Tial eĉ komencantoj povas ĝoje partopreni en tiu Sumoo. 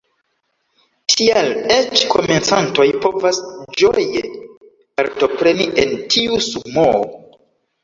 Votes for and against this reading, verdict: 0, 2, rejected